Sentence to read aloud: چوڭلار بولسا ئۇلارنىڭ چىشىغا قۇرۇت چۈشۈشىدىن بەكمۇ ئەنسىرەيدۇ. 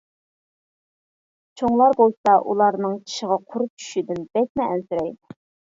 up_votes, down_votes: 0, 2